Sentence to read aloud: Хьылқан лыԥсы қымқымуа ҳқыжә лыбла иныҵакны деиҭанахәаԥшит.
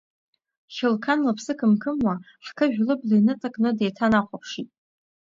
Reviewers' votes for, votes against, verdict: 2, 0, accepted